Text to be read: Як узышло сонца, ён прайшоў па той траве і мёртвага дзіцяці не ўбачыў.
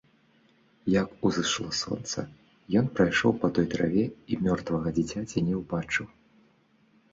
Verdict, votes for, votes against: accepted, 2, 0